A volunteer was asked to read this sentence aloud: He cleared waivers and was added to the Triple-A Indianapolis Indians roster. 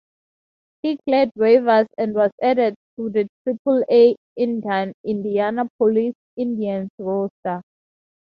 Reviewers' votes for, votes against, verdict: 2, 2, rejected